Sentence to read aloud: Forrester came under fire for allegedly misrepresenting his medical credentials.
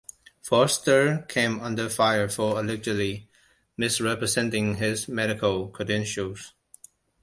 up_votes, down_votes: 2, 1